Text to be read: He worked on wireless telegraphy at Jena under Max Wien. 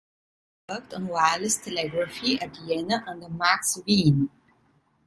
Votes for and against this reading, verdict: 0, 2, rejected